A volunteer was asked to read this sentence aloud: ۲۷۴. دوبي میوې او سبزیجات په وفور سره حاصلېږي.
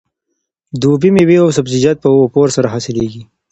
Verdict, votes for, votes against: rejected, 0, 2